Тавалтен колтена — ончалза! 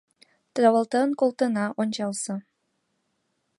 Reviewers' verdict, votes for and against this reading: accepted, 4, 3